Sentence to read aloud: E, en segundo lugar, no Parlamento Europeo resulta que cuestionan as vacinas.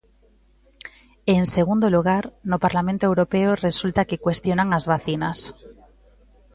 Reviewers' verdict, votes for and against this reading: accepted, 2, 0